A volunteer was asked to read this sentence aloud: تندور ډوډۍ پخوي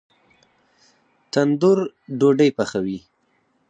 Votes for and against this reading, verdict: 4, 0, accepted